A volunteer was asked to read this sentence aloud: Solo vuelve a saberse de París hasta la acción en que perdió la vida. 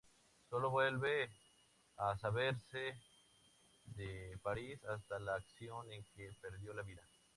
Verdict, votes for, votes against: rejected, 2, 2